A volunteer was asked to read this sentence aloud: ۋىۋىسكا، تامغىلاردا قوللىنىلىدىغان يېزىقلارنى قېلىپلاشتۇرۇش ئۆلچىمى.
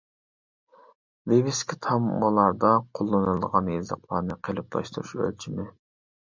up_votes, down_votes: 0, 2